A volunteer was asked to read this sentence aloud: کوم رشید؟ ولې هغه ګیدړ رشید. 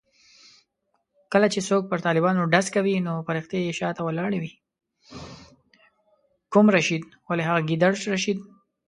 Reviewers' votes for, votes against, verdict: 0, 2, rejected